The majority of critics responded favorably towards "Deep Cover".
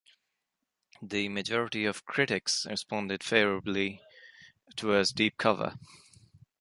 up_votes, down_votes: 2, 0